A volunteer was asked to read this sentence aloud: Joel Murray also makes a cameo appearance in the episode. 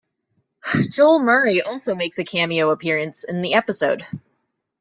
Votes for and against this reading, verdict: 2, 0, accepted